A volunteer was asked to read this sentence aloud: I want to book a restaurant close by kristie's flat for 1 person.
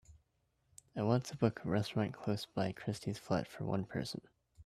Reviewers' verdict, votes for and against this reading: rejected, 0, 2